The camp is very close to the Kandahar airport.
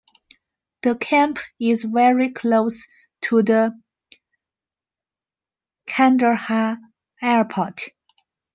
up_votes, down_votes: 1, 2